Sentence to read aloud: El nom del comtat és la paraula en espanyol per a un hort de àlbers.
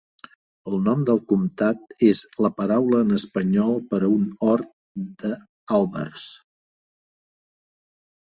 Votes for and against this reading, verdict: 0, 2, rejected